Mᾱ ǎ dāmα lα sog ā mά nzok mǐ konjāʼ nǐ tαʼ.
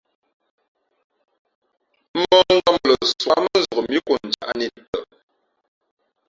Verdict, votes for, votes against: rejected, 1, 2